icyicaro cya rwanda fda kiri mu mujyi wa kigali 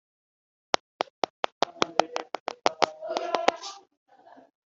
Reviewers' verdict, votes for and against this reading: rejected, 0, 2